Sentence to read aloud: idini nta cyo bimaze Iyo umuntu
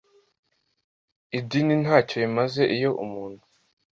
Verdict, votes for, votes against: accepted, 2, 0